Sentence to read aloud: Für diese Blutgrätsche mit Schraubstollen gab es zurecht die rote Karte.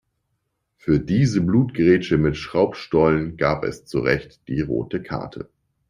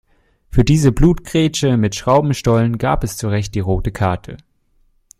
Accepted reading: first